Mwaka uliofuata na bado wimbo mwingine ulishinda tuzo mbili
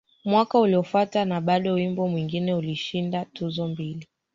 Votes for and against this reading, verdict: 1, 2, rejected